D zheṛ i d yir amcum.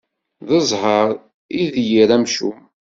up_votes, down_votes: 2, 0